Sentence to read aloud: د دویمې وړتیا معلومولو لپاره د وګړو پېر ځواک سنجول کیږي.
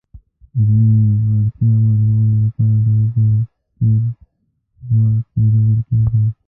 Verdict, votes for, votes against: rejected, 0, 2